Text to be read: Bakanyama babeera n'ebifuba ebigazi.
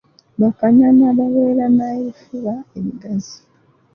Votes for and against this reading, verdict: 0, 2, rejected